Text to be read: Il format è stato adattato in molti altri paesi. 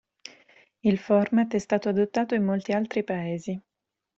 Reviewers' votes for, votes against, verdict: 2, 1, accepted